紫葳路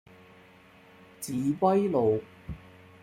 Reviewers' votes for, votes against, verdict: 2, 0, accepted